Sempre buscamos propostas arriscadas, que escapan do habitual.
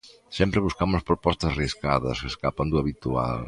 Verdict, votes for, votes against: accepted, 2, 1